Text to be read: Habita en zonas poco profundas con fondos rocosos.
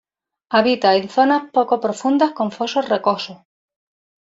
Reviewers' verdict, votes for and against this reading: rejected, 0, 2